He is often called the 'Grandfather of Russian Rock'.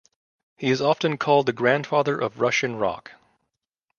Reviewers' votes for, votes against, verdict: 2, 0, accepted